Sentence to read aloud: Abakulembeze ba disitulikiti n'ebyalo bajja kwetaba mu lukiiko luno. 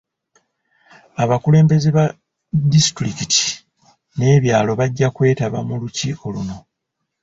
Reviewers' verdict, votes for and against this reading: accepted, 2, 0